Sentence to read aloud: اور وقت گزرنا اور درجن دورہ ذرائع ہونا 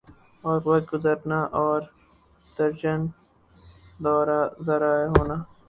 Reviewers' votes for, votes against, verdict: 0, 2, rejected